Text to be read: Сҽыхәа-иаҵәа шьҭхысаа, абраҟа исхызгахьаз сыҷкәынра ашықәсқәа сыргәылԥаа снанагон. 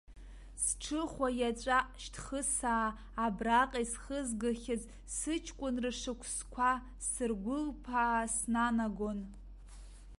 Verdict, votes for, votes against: rejected, 0, 2